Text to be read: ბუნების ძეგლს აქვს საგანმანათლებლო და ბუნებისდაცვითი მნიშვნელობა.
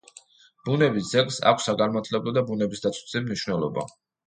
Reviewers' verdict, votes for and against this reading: accepted, 2, 0